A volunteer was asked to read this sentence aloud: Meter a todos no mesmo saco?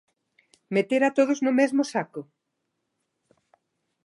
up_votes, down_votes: 2, 0